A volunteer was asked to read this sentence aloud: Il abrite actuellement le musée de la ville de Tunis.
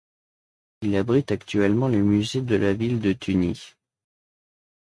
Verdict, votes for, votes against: rejected, 1, 2